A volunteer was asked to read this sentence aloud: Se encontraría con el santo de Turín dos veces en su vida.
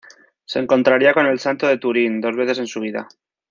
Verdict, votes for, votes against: accepted, 2, 0